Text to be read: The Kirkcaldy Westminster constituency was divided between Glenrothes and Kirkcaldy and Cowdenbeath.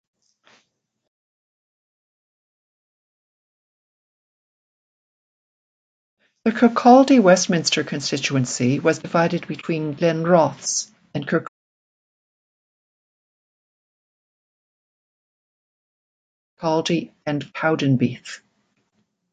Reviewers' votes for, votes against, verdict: 0, 2, rejected